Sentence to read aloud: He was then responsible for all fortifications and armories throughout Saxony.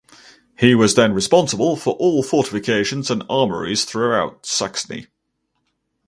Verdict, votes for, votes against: accepted, 2, 0